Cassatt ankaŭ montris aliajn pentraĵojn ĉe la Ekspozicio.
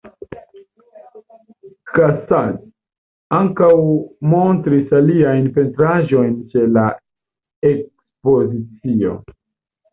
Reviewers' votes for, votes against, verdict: 0, 2, rejected